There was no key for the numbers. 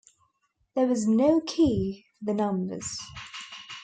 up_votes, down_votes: 0, 2